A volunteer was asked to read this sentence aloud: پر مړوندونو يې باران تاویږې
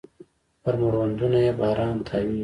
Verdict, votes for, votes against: rejected, 0, 2